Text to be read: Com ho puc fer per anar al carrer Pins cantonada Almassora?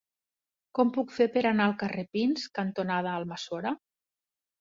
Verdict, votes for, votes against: rejected, 0, 2